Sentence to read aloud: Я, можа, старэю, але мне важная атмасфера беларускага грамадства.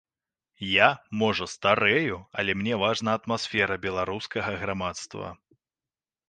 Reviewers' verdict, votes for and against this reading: rejected, 1, 2